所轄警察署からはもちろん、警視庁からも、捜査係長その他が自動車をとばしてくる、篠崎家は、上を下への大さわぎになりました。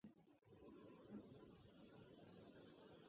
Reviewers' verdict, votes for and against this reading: rejected, 0, 2